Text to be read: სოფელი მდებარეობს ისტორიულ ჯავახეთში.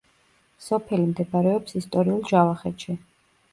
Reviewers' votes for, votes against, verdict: 2, 0, accepted